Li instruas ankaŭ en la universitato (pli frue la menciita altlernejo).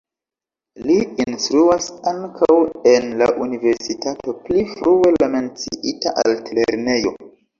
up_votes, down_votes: 2, 1